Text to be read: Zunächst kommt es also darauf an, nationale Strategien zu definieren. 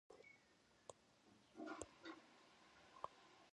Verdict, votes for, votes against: rejected, 0, 2